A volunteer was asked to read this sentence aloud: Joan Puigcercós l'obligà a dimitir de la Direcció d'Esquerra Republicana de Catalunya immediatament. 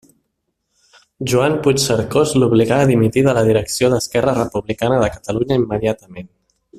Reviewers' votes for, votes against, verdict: 3, 0, accepted